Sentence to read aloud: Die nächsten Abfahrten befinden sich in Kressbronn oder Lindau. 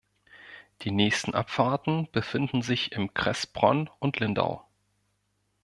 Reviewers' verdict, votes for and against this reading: rejected, 1, 2